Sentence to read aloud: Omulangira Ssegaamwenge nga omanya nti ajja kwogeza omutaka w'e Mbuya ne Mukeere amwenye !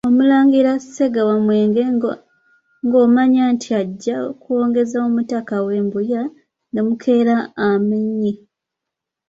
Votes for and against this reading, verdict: 1, 2, rejected